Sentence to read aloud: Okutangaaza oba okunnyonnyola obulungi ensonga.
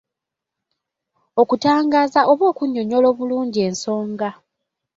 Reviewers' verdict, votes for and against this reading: accepted, 2, 0